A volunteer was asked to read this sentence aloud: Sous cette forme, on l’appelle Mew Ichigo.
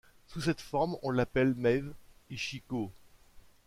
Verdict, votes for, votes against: accepted, 2, 0